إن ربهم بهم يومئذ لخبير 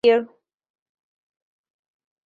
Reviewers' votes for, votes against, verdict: 0, 2, rejected